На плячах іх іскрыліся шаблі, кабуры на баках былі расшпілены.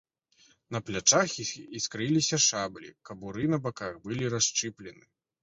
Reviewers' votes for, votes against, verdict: 1, 2, rejected